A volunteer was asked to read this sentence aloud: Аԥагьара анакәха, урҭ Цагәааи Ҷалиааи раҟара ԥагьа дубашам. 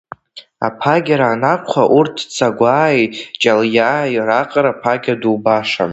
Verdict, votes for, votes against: rejected, 0, 2